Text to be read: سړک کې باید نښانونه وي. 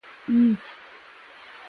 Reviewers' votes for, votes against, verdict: 0, 2, rejected